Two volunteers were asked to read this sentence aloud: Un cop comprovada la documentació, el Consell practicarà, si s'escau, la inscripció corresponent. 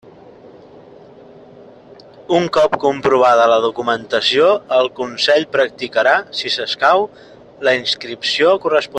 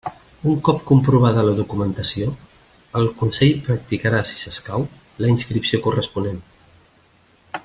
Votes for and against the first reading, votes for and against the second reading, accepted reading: 0, 2, 2, 0, second